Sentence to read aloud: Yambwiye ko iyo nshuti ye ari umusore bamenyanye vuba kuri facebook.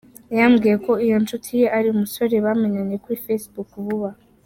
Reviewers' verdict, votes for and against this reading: rejected, 0, 2